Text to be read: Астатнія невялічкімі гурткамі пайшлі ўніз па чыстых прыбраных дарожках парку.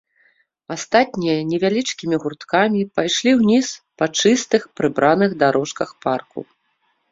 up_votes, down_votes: 1, 2